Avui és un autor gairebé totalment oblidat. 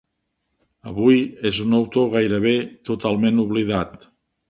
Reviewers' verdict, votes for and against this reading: accepted, 3, 0